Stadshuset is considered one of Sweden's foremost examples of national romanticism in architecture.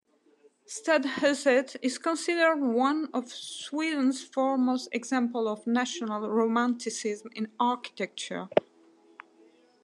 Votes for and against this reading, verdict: 2, 0, accepted